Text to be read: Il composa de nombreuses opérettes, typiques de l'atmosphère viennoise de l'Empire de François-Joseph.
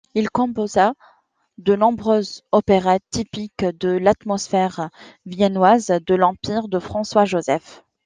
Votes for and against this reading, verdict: 2, 0, accepted